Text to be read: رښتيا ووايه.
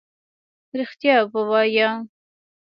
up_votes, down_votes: 1, 2